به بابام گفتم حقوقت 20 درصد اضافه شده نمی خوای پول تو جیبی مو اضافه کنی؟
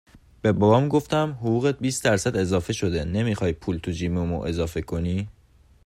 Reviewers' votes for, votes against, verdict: 0, 2, rejected